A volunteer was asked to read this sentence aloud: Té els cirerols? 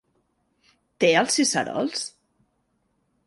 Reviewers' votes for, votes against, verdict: 0, 2, rejected